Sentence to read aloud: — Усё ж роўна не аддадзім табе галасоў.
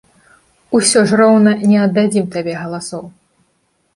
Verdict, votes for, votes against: accepted, 3, 0